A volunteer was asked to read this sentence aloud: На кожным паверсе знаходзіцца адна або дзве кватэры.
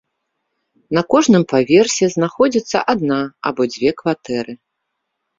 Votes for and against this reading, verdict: 2, 0, accepted